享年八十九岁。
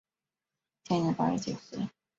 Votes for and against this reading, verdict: 1, 2, rejected